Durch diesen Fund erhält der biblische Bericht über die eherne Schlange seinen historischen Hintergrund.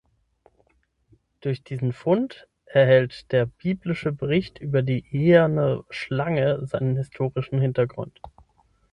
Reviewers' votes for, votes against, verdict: 6, 0, accepted